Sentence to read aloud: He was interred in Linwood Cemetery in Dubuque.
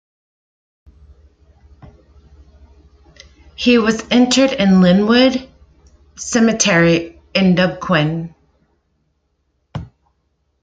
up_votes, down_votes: 0, 2